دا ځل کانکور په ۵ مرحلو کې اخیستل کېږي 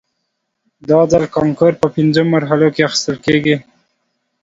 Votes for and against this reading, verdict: 0, 2, rejected